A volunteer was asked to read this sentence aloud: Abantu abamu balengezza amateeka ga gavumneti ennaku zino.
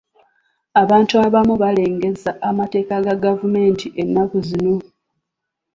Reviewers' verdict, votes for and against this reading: rejected, 0, 2